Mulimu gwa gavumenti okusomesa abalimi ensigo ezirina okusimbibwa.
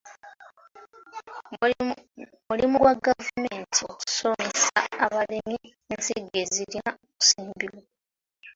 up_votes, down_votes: 0, 2